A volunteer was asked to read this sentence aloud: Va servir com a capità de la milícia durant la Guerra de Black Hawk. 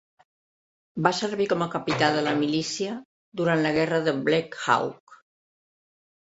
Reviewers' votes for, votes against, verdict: 0, 2, rejected